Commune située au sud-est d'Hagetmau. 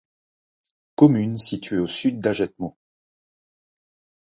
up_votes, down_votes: 1, 2